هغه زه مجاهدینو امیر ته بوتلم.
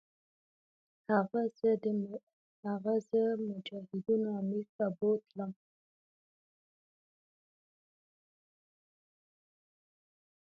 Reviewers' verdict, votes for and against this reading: rejected, 1, 2